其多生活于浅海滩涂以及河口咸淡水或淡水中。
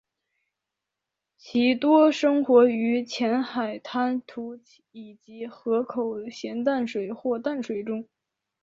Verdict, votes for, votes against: accepted, 2, 0